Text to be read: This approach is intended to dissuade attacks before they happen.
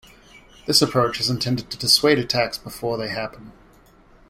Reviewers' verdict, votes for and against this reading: accepted, 2, 0